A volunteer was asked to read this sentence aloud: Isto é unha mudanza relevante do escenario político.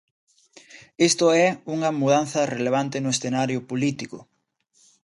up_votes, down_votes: 0, 2